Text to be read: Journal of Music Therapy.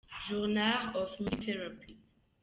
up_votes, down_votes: 0, 2